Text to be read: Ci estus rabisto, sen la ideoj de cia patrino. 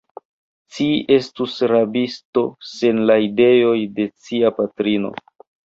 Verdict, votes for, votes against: accepted, 2, 0